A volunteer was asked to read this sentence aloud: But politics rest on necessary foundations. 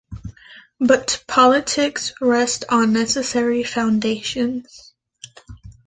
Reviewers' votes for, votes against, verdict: 2, 0, accepted